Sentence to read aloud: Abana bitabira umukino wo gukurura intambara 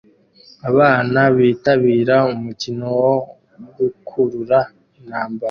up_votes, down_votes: 2, 1